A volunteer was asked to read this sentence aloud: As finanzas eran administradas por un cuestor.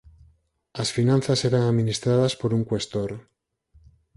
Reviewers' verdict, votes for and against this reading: rejected, 2, 4